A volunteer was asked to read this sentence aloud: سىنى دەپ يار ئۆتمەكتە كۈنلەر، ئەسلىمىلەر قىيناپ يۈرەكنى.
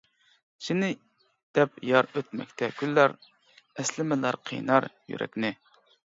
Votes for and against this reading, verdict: 0, 2, rejected